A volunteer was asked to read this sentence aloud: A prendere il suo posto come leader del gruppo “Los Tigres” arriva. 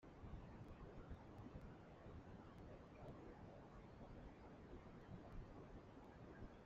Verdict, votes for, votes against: rejected, 0, 2